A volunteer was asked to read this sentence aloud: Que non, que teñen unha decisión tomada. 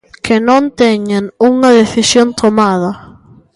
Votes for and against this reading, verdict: 0, 2, rejected